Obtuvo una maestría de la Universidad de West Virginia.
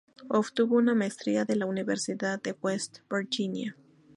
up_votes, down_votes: 2, 0